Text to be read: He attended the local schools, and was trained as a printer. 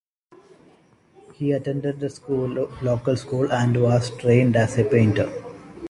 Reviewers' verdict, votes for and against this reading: rejected, 0, 2